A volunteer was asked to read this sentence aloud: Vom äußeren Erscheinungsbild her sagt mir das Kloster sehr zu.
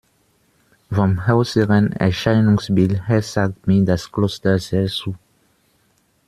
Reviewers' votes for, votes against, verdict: 2, 1, accepted